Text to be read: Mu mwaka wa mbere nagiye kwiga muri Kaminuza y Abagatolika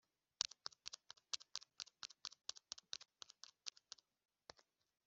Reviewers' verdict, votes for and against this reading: rejected, 0, 2